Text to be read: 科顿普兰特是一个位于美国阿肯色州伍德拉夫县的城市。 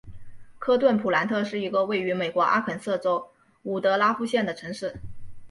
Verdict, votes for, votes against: accepted, 2, 0